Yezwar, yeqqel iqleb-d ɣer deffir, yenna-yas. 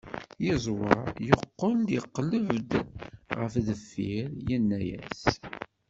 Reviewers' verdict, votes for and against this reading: rejected, 1, 2